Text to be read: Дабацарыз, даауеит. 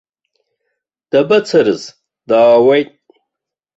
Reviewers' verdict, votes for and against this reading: accepted, 2, 0